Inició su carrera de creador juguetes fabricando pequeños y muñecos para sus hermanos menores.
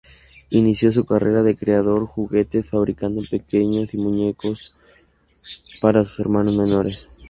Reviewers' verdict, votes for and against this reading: accepted, 2, 0